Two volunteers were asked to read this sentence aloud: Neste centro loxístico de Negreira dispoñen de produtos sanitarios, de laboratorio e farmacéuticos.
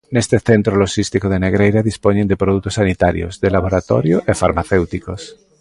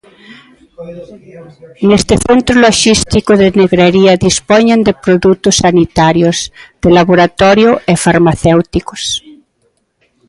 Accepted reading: first